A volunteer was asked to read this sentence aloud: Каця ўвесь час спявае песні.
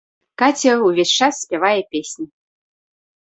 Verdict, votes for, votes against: accepted, 2, 0